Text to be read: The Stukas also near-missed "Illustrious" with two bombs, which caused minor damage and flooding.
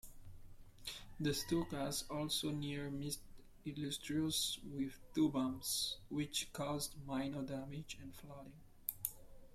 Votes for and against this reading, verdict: 2, 0, accepted